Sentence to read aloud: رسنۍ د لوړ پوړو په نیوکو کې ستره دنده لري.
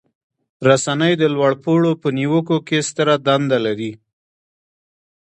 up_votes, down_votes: 2, 1